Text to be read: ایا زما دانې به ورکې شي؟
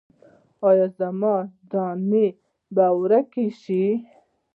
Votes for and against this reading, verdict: 2, 1, accepted